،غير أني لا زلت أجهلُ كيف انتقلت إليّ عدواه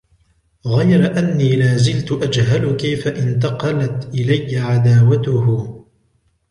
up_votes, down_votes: 1, 2